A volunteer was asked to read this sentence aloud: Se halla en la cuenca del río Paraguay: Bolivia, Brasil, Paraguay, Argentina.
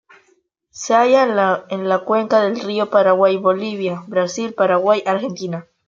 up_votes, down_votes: 1, 2